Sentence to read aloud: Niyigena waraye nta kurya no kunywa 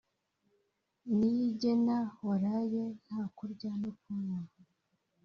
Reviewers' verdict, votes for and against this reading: rejected, 1, 2